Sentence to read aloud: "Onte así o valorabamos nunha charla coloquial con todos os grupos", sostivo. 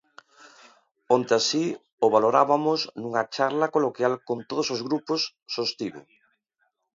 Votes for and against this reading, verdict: 0, 2, rejected